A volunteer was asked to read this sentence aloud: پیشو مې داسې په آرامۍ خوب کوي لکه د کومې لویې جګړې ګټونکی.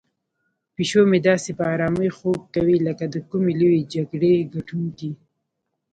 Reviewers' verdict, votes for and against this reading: rejected, 1, 2